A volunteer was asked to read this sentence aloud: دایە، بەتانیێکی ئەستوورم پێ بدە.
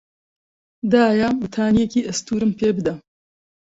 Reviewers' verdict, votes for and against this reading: accepted, 2, 0